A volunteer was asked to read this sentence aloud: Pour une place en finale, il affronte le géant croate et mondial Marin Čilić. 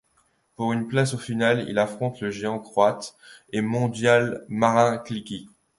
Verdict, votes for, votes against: rejected, 0, 2